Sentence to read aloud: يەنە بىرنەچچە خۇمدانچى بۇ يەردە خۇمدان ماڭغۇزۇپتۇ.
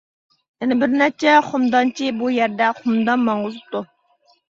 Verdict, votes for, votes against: rejected, 1, 2